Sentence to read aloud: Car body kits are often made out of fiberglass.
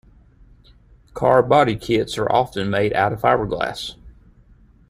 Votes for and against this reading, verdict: 2, 0, accepted